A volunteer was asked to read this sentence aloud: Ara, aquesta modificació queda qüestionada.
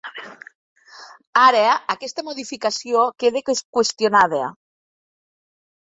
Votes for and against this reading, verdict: 1, 2, rejected